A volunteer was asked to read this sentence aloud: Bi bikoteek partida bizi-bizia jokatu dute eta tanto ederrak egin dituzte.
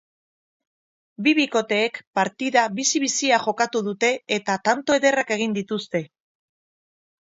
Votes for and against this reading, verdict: 4, 0, accepted